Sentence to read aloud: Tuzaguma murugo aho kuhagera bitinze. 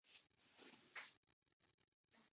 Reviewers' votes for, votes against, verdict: 0, 2, rejected